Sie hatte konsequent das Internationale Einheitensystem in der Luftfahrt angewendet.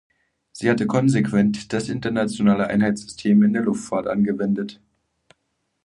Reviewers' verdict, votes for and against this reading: rejected, 0, 2